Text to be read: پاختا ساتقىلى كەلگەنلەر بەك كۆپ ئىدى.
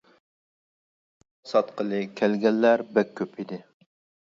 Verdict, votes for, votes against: rejected, 0, 2